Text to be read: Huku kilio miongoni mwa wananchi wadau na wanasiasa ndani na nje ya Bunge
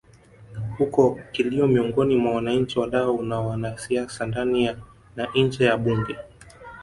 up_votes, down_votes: 0, 2